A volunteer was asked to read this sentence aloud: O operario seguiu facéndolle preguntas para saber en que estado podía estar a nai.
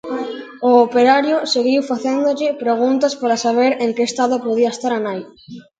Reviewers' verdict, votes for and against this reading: rejected, 0, 2